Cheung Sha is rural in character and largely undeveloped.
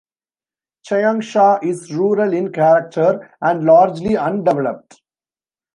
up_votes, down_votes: 1, 2